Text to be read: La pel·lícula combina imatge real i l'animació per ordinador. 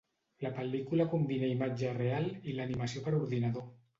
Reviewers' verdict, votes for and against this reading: rejected, 0, 2